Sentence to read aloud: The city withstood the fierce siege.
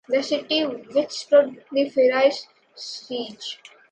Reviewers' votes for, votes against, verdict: 2, 1, accepted